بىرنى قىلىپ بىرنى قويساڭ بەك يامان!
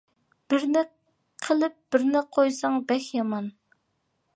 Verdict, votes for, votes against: accepted, 2, 0